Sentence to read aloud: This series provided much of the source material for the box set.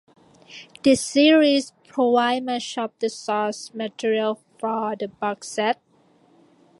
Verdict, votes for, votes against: rejected, 0, 2